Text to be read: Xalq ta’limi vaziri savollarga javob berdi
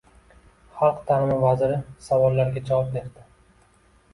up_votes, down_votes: 2, 1